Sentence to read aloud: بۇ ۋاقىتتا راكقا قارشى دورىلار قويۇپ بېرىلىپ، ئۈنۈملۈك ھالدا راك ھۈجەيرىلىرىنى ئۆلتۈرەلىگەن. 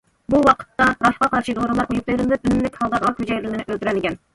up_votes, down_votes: 1, 2